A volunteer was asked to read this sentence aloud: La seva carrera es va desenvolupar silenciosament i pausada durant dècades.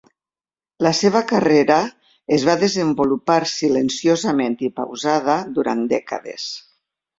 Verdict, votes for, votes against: accepted, 3, 0